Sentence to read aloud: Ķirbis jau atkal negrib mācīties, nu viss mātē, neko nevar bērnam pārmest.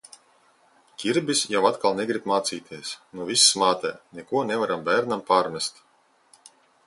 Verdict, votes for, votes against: rejected, 1, 2